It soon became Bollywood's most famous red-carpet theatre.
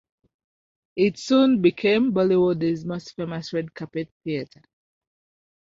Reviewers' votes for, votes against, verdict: 0, 2, rejected